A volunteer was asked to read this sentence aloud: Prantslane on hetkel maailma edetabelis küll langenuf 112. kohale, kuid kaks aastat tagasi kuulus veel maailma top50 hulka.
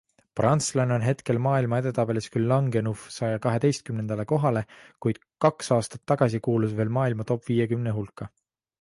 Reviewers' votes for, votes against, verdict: 0, 2, rejected